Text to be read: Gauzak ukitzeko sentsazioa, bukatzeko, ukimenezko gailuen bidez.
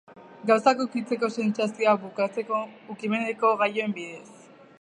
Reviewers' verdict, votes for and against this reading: rejected, 0, 2